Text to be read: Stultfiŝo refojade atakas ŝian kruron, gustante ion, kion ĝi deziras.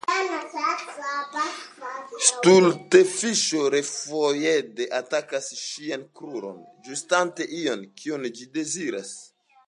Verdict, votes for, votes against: rejected, 2, 3